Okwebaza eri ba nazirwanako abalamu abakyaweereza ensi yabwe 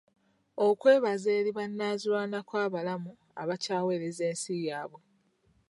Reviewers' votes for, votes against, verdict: 1, 2, rejected